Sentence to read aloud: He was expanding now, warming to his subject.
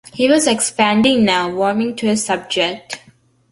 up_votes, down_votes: 2, 0